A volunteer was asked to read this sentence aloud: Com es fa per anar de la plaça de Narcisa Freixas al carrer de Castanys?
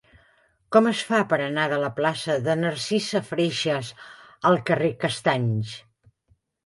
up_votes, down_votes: 0, 3